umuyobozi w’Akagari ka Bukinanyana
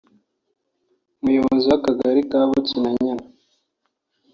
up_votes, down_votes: 2, 0